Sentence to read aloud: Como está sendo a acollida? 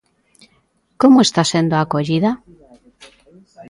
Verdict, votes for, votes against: accepted, 2, 0